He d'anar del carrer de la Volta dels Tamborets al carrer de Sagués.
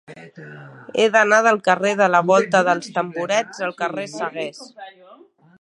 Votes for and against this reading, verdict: 0, 2, rejected